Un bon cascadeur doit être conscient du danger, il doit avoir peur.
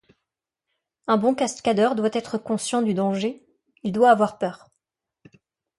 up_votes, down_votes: 2, 0